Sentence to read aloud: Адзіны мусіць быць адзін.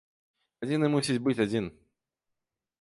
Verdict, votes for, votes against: accepted, 2, 0